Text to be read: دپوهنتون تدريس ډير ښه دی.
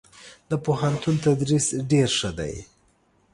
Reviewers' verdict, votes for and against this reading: accepted, 2, 0